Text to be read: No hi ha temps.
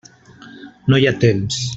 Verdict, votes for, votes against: accepted, 3, 0